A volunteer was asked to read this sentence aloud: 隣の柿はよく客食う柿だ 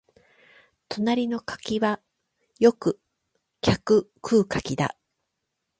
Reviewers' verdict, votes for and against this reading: rejected, 4, 8